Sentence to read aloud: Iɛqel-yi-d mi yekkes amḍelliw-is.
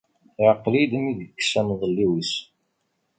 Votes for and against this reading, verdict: 2, 0, accepted